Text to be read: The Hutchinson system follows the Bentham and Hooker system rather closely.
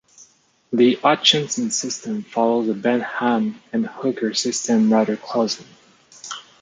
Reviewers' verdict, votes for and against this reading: accepted, 2, 0